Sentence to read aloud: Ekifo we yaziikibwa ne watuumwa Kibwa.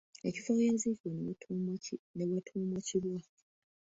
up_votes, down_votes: 2, 1